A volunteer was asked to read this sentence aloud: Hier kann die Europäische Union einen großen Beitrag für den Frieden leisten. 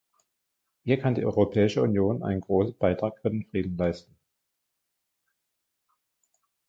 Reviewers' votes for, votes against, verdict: 2, 1, accepted